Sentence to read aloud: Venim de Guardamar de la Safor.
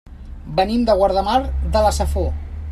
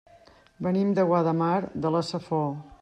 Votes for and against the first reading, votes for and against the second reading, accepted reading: 3, 0, 0, 2, first